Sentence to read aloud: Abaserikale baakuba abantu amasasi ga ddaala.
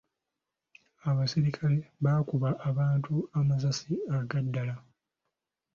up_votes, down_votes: 0, 2